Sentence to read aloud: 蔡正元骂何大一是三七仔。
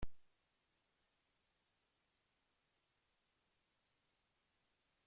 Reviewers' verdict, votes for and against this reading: rejected, 0, 2